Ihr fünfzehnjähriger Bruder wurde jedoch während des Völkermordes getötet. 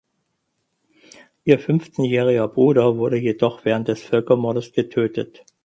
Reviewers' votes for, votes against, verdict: 4, 0, accepted